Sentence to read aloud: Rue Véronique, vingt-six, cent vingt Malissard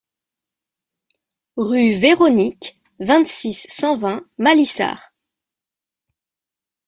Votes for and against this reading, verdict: 2, 0, accepted